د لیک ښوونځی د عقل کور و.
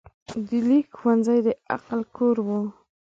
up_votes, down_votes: 2, 0